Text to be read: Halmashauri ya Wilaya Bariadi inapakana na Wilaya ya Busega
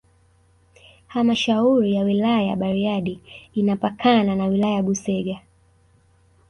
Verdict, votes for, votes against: rejected, 1, 2